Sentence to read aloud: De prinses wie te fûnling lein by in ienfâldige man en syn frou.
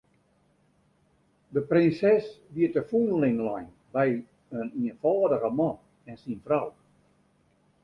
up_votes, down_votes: 1, 2